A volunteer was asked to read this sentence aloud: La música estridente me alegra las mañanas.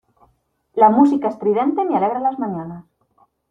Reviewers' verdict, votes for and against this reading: accepted, 2, 0